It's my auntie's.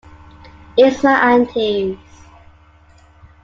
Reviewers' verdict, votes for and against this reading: accepted, 3, 0